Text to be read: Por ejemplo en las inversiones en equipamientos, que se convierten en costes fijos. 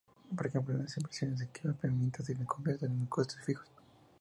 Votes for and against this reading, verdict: 4, 6, rejected